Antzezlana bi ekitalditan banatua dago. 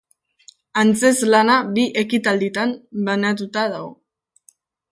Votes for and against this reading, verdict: 0, 2, rejected